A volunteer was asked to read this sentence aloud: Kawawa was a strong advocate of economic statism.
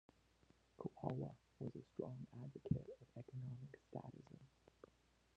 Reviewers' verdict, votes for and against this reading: rejected, 1, 3